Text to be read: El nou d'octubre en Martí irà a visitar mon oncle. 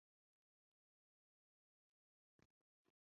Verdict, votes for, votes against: rejected, 0, 3